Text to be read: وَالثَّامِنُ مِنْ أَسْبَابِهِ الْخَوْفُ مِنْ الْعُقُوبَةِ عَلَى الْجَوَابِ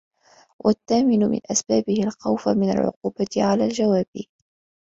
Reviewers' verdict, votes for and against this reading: accepted, 2, 0